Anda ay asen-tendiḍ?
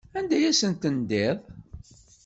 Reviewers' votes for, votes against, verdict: 2, 0, accepted